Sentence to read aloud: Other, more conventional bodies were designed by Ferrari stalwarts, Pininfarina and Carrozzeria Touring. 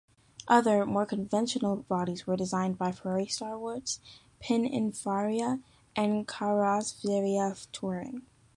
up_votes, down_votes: 1, 2